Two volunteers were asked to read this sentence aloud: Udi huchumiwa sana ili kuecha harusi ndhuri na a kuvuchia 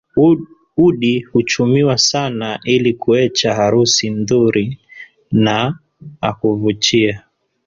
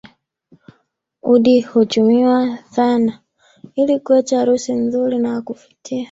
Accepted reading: first